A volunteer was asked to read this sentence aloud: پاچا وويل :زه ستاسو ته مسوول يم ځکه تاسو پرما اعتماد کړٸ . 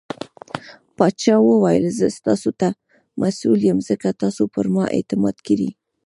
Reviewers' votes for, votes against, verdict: 2, 0, accepted